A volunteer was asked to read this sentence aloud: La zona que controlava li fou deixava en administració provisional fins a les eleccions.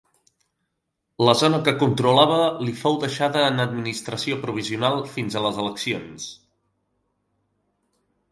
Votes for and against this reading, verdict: 3, 2, accepted